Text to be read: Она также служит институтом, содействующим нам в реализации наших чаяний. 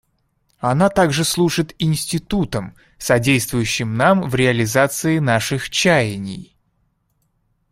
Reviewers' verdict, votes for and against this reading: accepted, 2, 0